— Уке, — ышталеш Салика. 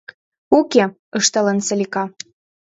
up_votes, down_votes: 1, 2